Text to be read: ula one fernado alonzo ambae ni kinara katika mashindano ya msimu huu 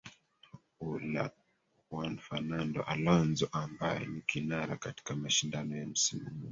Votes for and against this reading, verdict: 1, 2, rejected